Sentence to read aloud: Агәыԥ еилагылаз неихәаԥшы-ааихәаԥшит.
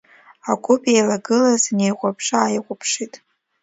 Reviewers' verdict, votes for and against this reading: rejected, 0, 2